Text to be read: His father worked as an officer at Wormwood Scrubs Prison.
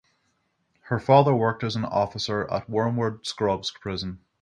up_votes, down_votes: 3, 6